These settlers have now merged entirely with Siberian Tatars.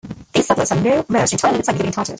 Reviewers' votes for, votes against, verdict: 0, 2, rejected